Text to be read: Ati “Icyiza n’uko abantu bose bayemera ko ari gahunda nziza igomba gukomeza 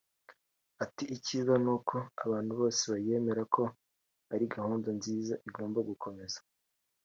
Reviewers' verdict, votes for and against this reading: accepted, 2, 0